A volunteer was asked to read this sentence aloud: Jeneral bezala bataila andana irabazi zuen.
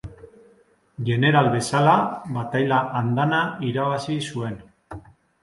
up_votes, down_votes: 2, 0